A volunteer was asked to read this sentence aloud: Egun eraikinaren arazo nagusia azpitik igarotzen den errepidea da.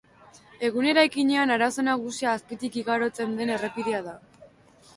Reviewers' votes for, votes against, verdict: 1, 2, rejected